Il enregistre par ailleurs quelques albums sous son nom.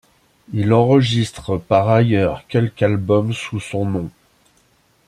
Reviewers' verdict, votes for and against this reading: rejected, 0, 2